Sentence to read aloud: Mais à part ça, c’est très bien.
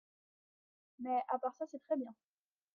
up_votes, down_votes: 3, 1